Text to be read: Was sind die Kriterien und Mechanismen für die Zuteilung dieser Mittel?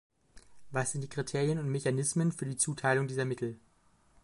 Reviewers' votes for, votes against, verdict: 1, 2, rejected